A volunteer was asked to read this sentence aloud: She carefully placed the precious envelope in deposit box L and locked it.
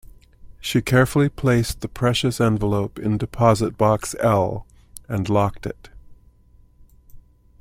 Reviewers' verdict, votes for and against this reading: accepted, 2, 0